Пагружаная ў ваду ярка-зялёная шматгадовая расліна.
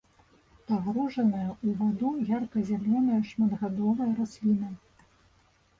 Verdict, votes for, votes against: rejected, 1, 2